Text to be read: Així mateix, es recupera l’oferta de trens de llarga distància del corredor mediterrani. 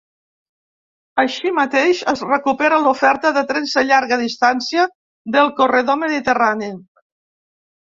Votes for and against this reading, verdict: 2, 0, accepted